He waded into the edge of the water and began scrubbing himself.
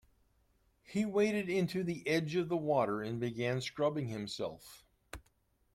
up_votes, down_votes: 2, 0